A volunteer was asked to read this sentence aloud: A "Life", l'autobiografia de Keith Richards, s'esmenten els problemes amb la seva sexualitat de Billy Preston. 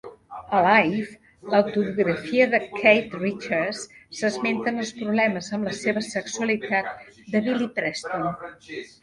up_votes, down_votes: 2, 0